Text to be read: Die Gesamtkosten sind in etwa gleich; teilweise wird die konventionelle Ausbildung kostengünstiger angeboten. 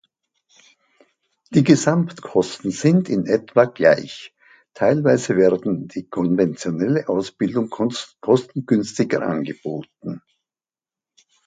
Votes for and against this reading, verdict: 0, 2, rejected